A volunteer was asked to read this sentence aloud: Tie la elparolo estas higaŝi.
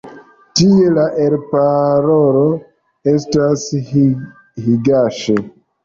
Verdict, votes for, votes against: accepted, 2, 0